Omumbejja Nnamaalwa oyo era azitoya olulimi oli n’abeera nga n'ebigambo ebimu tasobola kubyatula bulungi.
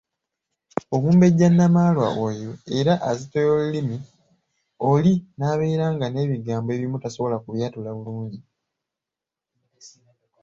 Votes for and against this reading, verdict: 2, 0, accepted